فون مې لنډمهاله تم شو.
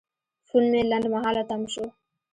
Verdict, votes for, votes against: accepted, 2, 1